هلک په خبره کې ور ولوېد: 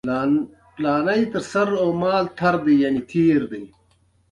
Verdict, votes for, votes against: rejected, 1, 2